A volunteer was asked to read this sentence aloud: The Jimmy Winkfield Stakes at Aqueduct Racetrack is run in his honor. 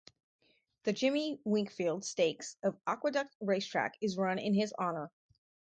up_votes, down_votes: 4, 0